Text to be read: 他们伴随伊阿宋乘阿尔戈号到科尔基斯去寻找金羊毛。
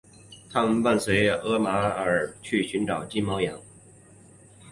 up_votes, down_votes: 1, 2